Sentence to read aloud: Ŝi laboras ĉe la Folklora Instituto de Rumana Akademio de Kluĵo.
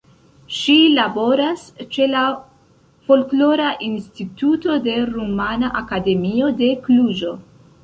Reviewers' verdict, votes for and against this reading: accepted, 2, 0